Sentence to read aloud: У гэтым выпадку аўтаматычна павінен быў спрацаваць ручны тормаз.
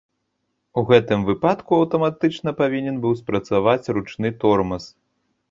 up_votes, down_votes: 1, 2